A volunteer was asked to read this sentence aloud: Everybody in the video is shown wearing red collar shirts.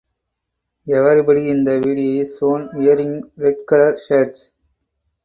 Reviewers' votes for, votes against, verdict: 0, 4, rejected